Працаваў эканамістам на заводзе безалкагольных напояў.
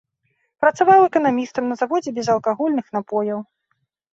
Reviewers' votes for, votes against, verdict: 2, 0, accepted